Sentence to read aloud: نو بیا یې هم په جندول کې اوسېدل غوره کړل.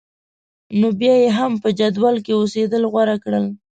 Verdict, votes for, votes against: rejected, 1, 2